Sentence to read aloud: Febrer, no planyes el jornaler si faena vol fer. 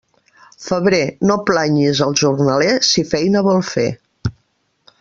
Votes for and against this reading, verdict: 1, 2, rejected